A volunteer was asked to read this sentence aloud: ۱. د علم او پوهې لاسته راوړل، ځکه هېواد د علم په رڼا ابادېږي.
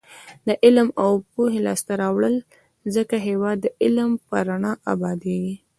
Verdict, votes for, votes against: rejected, 0, 2